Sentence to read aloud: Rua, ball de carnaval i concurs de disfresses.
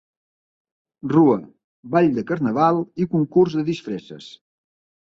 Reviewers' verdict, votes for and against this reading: accepted, 2, 0